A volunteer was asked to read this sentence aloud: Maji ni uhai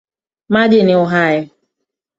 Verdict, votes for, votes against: rejected, 1, 2